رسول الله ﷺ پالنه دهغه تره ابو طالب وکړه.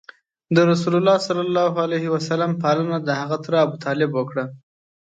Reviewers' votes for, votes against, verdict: 2, 0, accepted